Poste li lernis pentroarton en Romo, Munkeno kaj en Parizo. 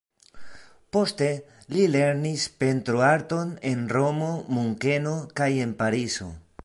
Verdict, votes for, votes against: accepted, 2, 0